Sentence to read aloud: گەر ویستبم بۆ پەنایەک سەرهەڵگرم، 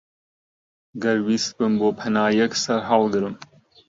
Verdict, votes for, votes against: accepted, 2, 0